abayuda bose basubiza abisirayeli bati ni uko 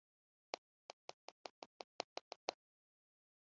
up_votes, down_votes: 1, 2